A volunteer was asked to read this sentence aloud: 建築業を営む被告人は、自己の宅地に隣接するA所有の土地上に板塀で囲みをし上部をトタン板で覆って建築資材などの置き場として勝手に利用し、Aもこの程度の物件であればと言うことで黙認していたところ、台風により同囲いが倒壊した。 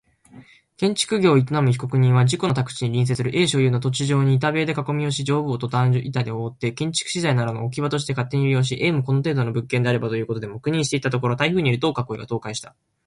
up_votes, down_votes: 2, 0